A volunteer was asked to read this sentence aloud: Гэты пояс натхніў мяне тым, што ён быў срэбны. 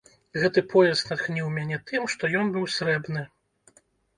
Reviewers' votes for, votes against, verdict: 3, 0, accepted